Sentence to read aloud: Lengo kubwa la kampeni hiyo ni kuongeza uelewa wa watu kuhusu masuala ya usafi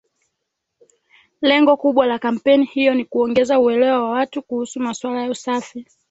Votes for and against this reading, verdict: 2, 0, accepted